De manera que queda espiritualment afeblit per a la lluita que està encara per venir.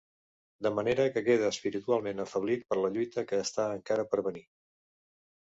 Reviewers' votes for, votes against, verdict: 0, 2, rejected